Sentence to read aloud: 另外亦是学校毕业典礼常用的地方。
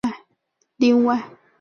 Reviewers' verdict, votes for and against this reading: rejected, 0, 2